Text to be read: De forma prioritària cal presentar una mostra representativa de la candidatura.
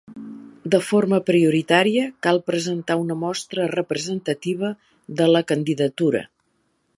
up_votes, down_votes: 2, 0